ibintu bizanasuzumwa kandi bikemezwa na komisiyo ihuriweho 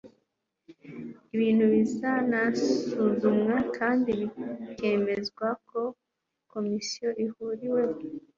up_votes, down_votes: 2, 1